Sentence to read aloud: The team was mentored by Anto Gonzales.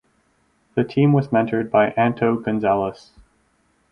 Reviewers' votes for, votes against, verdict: 4, 0, accepted